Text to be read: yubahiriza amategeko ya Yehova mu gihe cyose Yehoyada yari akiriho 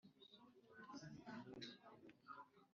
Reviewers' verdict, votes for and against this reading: rejected, 0, 2